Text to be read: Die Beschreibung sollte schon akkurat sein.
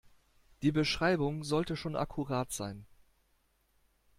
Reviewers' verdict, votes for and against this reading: accepted, 2, 0